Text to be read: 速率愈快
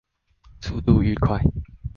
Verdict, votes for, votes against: rejected, 0, 2